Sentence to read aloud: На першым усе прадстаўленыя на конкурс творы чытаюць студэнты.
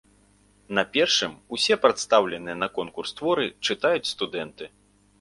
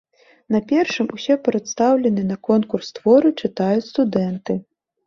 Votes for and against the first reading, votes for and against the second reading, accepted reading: 2, 0, 1, 2, first